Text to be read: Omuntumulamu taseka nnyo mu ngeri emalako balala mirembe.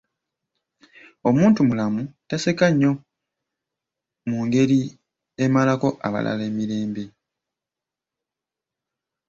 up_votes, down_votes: 1, 2